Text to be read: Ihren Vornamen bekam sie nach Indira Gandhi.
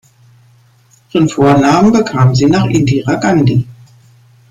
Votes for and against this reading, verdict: 2, 0, accepted